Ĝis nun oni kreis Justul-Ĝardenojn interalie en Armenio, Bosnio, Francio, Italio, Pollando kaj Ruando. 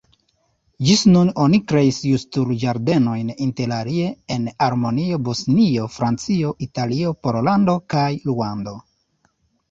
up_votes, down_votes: 1, 2